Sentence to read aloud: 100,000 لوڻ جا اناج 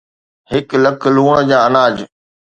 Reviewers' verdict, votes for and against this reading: rejected, 0, 2